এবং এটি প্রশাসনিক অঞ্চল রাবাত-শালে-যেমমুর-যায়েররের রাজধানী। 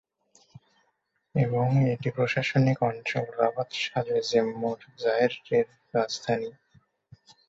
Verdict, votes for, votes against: rejected, 2, 2